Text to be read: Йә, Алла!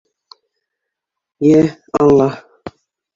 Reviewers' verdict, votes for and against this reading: rejected, 1, 2